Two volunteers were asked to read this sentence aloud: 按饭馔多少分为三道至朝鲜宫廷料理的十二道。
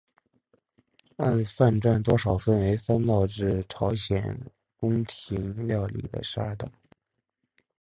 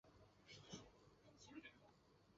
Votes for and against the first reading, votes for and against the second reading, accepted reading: 5, 3, 1, 2, first